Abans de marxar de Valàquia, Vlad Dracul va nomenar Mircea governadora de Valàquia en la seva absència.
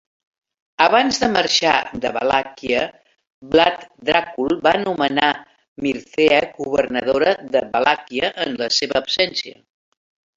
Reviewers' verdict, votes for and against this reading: rejected, 0, 2